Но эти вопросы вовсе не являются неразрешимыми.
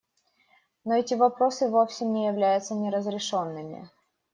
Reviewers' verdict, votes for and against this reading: rejected, 1, 2